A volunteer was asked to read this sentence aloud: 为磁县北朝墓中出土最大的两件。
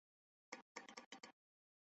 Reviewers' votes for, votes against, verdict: 0, 2, rejected